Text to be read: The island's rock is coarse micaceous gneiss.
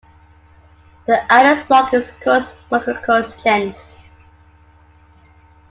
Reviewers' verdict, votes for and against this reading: rejected, 0, 2